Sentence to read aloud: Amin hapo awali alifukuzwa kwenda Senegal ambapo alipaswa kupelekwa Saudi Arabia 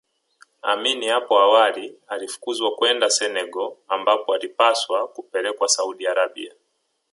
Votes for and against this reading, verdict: 3, 2, accepted